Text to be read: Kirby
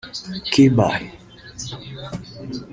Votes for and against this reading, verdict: 2, 3, rejected